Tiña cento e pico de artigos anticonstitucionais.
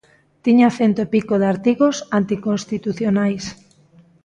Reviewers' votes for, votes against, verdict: 2, 0, accepted